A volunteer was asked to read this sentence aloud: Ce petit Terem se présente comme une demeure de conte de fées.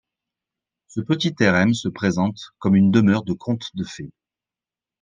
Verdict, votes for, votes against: accepted, 2, 1